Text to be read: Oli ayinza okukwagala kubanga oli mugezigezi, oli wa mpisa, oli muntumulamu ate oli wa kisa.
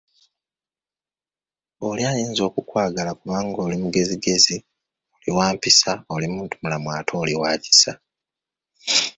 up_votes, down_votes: 2, 0